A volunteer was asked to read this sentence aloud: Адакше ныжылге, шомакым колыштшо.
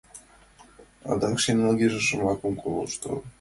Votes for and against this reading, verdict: 1, 2, rejected